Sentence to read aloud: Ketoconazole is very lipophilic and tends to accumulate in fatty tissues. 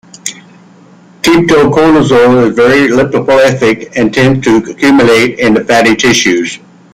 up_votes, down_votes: 0, 2